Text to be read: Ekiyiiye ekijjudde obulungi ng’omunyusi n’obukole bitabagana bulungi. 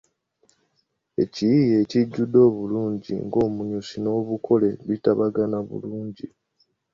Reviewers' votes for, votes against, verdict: 2, 1, accepted